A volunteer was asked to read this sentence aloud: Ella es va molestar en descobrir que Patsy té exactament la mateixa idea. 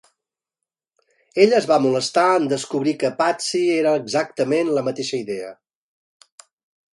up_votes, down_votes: 0, 2